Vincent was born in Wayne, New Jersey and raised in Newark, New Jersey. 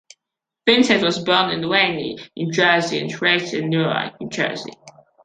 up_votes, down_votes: 2, 0